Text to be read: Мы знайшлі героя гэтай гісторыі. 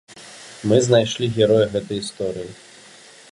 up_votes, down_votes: 0, 2